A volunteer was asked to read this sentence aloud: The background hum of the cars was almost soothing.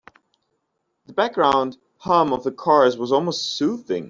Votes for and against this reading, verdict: 2, 0, accepted